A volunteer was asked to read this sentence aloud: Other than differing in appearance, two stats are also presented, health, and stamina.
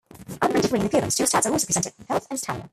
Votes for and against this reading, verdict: 0, 2, rejected